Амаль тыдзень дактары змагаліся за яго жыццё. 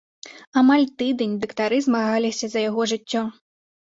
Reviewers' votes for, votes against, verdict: 0, 2, rejected